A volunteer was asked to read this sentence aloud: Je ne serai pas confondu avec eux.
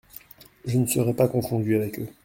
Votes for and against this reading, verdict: 2, 0, accepted